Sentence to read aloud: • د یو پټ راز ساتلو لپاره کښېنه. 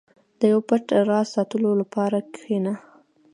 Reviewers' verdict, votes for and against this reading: accepted, 2, 0